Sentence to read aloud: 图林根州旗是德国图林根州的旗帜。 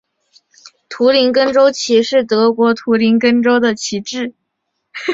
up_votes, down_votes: 3, 0